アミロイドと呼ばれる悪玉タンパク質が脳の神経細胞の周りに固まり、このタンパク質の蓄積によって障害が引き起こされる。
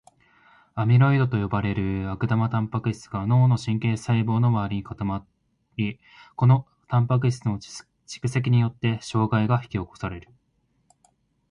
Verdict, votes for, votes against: accepted, 2, 1